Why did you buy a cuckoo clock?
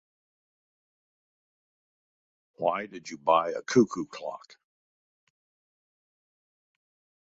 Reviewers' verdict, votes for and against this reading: accepted, 2, 0